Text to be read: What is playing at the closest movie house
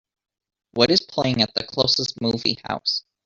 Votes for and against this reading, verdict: 2, 1, accepted